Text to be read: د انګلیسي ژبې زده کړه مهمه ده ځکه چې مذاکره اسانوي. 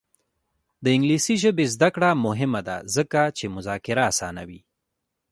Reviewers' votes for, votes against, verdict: 0, 2, rejected